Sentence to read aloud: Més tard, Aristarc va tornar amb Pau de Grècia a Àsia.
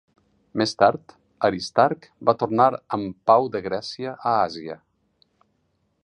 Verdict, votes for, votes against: accepted, 4, 0